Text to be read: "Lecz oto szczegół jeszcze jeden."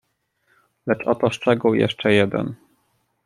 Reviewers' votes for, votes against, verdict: 2, 0, accepted